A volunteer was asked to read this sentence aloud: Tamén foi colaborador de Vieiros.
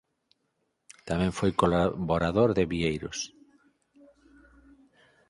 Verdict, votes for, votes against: rejected, 2, 4